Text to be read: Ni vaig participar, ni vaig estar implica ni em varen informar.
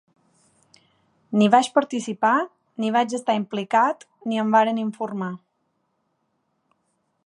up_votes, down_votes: 2, 1